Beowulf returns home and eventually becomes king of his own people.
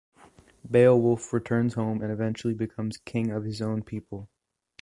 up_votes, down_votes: 2, 0